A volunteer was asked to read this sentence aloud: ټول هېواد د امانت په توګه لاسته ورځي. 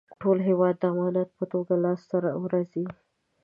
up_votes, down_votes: 0, 2